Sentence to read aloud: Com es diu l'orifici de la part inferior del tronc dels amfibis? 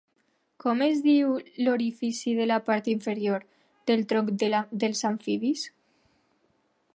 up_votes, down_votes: 1, 2